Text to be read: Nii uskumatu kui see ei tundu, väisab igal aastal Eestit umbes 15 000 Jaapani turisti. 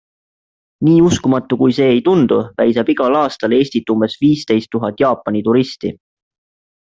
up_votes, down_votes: 0, 2